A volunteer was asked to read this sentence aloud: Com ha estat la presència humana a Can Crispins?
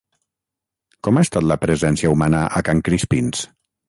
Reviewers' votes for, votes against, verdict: 3, 0, accepted